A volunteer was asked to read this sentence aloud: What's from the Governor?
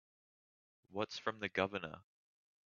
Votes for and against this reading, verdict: 2, 0, accepted